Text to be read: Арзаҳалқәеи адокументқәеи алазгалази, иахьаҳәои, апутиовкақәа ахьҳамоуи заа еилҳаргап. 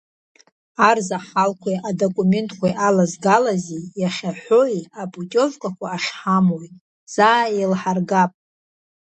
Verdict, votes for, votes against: rejected, 1, 2